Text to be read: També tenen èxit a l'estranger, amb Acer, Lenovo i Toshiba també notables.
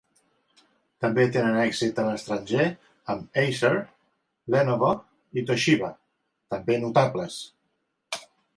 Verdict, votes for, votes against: accepted, 2, 0